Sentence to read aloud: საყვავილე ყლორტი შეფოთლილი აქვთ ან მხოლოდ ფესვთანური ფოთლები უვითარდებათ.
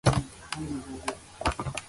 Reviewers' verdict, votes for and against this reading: rejected, 0, 2